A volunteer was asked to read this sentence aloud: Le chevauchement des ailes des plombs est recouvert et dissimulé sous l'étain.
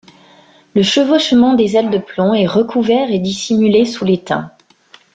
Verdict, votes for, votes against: accepted, 2, 1